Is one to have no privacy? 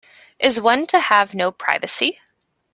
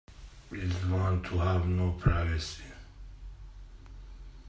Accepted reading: first